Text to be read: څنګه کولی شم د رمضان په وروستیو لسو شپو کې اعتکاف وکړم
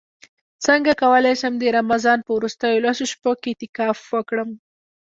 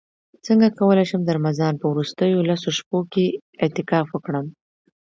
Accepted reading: second